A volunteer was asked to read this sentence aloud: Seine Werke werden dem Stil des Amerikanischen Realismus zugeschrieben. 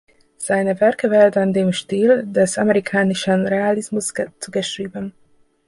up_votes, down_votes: 0, 2